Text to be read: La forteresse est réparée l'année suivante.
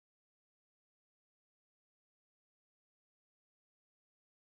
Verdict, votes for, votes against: rejected, 0, 2